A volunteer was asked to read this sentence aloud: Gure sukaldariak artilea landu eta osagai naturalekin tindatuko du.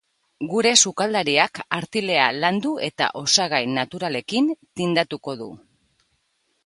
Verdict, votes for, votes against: accepted, 3, 1